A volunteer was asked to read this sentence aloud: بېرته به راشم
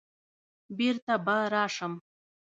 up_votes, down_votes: 0, 2